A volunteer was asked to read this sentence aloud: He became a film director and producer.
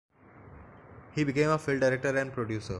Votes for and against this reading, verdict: 3, 0, accepted